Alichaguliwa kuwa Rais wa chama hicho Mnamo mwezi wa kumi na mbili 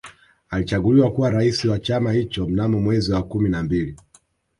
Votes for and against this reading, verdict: 3, 1, accepted